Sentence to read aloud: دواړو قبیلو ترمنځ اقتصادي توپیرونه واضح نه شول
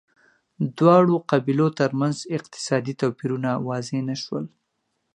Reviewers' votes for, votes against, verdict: 2, 0, accepted